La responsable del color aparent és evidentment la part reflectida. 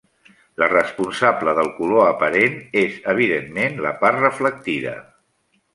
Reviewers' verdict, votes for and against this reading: accepted, 3, 0